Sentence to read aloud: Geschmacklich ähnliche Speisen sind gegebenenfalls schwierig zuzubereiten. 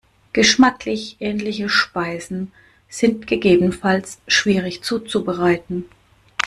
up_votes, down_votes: 1, 2